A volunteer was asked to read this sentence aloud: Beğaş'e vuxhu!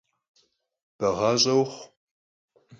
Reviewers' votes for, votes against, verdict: 4, 0, accepted